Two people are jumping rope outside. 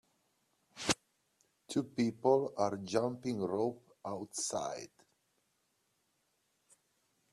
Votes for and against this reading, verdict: 2, 0, accepted